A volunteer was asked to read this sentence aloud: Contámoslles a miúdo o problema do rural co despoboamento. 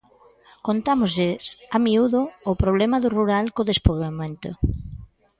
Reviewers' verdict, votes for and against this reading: rejected, 0, 2